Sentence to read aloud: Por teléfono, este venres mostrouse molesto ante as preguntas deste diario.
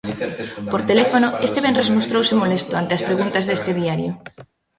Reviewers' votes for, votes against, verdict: 0, 2, rejected